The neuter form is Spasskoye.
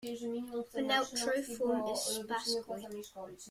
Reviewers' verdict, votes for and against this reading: rejected, 0, 2